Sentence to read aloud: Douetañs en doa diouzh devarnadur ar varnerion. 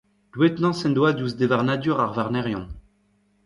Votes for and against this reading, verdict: 1, 2, rejected